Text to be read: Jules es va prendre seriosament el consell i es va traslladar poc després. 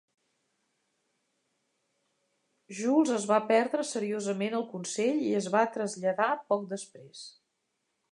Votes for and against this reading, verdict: 1, 2, rejected